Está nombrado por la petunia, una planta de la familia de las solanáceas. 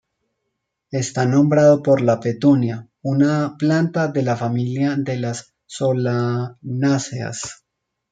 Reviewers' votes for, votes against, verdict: 0, 2, rejected